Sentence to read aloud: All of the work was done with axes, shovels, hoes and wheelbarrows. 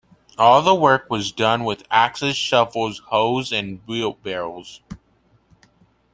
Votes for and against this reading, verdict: 2, 0, accepted